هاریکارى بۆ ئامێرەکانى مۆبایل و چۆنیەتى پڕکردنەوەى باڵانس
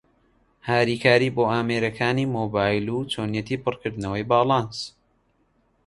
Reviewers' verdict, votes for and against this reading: accepted, 2, 0